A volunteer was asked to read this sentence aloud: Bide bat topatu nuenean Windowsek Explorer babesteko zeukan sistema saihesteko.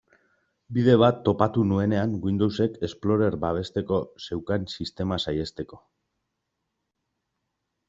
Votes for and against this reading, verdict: 2, 0, accepted